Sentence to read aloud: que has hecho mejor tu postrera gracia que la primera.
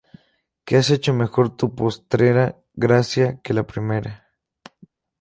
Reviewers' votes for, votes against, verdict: 0, 2, rejected